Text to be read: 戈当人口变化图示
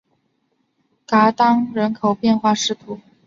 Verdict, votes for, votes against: rejected, 1, 2